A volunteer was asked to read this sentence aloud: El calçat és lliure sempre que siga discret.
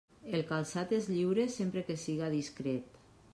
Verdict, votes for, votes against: accepted, 3, 0